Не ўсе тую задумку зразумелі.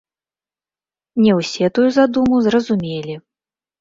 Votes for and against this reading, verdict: 0, 2, rejected